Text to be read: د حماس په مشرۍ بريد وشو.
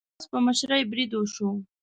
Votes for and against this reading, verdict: 0, 2, rejected